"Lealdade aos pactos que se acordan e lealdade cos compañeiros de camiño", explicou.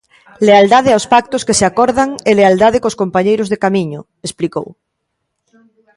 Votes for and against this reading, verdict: 1, 2, rejected